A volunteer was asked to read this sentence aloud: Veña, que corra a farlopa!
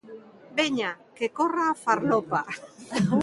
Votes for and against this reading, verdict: 1, 2, rejected